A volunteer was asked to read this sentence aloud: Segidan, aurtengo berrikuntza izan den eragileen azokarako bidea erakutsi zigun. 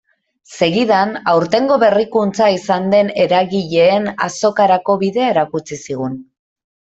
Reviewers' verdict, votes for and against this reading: accepted, 2, 0